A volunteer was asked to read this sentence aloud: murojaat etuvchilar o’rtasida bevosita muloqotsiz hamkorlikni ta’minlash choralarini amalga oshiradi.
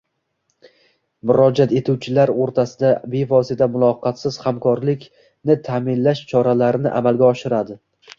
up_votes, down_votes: 1, 2